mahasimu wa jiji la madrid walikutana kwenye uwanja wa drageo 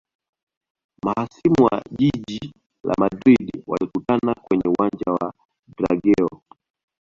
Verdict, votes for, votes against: accepted, 2, 0